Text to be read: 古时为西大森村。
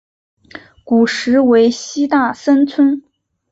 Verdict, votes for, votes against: accepted, 2, 1